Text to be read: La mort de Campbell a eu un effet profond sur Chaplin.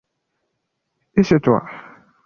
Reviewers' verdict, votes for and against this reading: rejected, 0, 2